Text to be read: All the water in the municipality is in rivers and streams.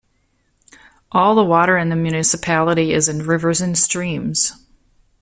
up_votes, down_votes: 2, 0